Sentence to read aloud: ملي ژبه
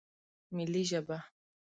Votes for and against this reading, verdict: 2, 0, accepted